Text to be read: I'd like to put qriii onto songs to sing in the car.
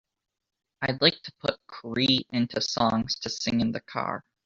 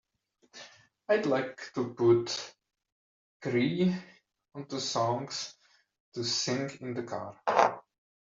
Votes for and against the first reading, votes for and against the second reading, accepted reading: 0, 2, 2, 1, second